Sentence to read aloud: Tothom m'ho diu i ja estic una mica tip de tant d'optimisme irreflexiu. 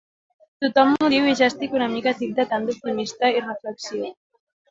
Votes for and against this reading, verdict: 2, 0, accepted